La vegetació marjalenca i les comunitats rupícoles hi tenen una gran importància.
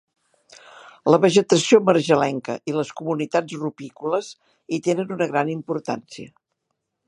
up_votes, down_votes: 2, 0